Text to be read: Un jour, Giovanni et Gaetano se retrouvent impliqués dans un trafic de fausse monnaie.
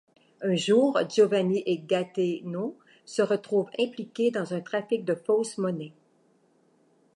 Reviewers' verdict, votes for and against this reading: rejected, 1, 2